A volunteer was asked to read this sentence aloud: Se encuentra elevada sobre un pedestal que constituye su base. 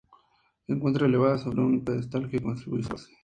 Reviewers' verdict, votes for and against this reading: rejected, 2, 2